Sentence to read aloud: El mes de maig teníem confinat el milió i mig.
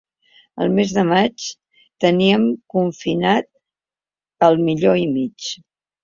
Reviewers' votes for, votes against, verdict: 1, 2, rejected